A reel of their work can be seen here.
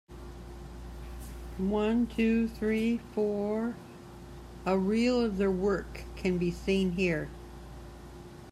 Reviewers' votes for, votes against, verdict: 0, 2, rejected